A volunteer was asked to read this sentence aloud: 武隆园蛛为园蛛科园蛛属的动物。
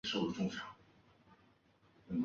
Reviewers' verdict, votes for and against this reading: rejected, 0, 2